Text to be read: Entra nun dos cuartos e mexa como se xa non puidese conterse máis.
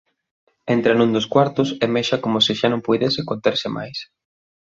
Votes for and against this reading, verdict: 2, 0, accepted